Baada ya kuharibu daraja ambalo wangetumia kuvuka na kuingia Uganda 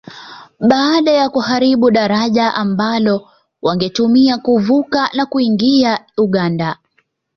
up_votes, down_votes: 2, 0